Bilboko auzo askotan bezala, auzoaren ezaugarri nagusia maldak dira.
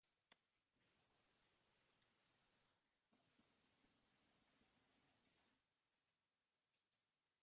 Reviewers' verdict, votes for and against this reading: rejected, 0, 2